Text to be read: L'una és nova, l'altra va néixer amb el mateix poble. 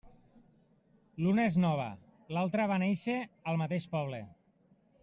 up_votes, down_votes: 1, 2